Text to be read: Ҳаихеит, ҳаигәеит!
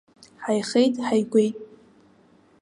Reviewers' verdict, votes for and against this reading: rejected, 0, 2